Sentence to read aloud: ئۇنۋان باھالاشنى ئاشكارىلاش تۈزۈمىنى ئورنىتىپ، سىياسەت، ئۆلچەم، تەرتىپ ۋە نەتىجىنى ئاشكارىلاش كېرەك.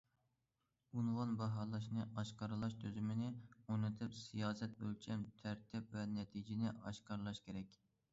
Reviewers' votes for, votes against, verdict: 2, 0, accepted